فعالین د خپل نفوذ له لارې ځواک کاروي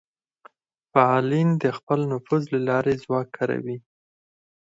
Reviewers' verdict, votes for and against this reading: accepted, 4, 0